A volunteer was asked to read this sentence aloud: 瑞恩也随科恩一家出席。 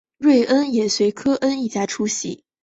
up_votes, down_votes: 2, 0